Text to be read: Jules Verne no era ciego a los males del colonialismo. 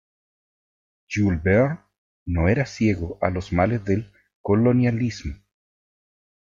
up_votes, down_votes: 1, 2